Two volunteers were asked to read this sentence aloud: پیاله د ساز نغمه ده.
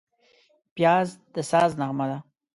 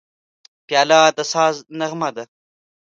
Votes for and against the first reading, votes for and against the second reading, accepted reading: 0, 2, 2, 0, second